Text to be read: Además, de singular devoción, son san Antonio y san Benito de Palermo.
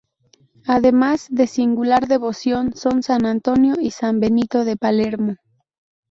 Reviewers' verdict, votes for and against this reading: accepted, 2, 0